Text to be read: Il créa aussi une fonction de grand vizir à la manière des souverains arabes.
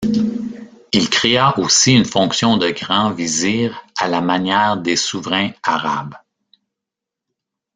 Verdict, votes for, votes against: accepted, 2, 1